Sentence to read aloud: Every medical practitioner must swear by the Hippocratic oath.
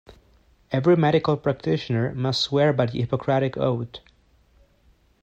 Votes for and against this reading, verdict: 2, 0, accepted